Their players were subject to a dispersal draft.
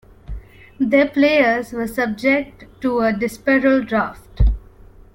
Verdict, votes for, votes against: accepted, 2, 1